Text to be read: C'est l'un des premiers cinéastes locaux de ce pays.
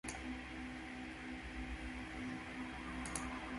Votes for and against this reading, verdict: 0, 2, rejected